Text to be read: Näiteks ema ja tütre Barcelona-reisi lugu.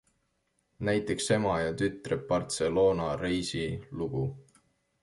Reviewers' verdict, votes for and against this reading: accepted, 2, 0